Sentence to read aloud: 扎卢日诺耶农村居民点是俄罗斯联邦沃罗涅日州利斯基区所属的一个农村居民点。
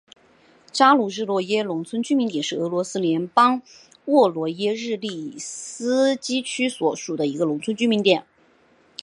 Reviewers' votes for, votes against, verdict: 2, 1, accepted